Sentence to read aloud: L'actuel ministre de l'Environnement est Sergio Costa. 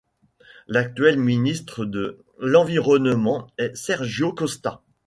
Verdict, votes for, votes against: rejected, 1, 2